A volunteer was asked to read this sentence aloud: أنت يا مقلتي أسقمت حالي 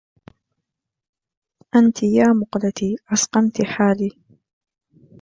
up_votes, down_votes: 2, 0